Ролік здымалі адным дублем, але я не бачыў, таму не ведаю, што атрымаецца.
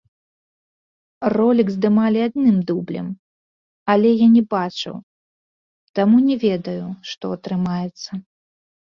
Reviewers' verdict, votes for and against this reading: rejected, 0, 2